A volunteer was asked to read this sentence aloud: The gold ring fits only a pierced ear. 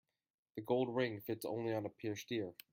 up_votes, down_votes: 1, 2